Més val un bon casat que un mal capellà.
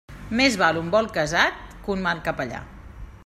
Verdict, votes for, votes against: rejected, 1, 2